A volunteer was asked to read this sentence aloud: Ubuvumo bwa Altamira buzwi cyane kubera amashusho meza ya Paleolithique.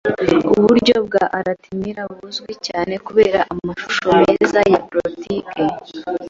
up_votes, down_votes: 0, 2